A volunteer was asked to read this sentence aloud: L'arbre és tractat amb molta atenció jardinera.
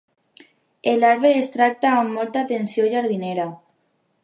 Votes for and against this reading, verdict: 0, 2, rejected